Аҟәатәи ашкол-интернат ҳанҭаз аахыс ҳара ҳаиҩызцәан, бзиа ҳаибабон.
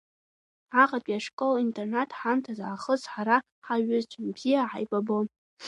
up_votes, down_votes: 1, 2